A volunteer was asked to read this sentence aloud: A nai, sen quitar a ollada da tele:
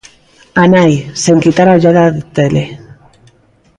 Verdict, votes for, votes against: rejected, 0, 2